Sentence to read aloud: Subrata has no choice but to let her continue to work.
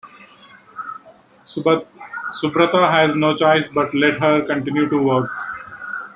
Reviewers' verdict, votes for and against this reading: rejected, 0, 2